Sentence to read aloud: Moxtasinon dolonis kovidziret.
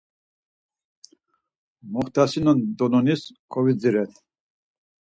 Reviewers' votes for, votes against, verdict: 4, 0, accepted